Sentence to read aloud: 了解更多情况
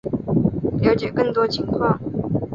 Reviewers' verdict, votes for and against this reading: accepted, 2, 0